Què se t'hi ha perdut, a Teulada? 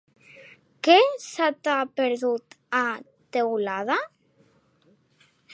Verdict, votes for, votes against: rejected, 0, 2